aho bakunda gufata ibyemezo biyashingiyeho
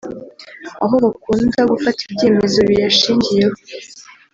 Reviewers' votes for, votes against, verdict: 1, 2, rejected